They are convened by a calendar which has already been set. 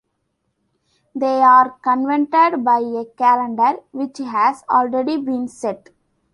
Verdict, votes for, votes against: rejected, 0, 2